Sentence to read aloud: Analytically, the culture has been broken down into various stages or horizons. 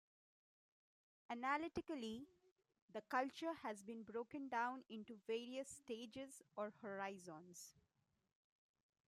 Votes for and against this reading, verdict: 2, 1, accepted